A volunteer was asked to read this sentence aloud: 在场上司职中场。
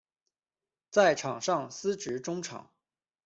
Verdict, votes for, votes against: accepted, 2, 0